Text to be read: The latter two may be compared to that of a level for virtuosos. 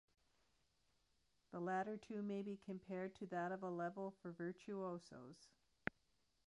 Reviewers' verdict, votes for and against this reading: accepted, 2, 0